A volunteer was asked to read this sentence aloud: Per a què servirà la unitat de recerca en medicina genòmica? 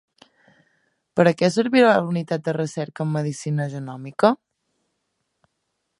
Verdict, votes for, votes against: accepted, 2, 0